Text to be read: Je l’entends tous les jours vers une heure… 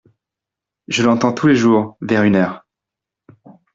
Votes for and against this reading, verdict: 2, 0, accepted